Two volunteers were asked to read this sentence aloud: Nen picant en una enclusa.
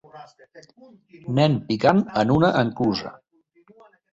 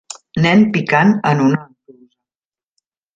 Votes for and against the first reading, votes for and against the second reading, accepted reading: 2, 0, 0, 2, first